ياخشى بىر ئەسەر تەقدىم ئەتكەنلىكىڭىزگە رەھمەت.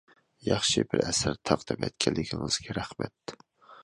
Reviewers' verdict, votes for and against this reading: accepted, 2, 1